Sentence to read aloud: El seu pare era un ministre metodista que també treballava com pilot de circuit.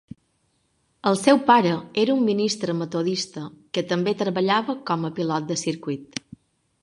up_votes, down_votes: 1, 2